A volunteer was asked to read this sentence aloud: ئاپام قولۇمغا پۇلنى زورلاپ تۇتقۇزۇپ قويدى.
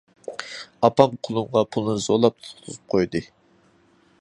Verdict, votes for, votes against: accepted, 2, 1